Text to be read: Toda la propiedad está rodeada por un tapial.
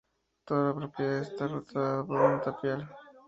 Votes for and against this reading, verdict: 0, 2, rejected